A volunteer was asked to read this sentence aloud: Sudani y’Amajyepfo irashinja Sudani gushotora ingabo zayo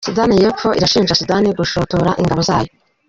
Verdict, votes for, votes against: rejected, 1, 2